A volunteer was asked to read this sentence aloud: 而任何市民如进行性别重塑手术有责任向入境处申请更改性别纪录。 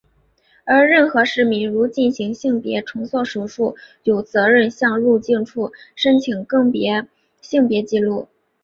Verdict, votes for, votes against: rejected, 1, 3